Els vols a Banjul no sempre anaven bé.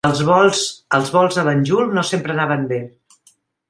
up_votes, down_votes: 0, 2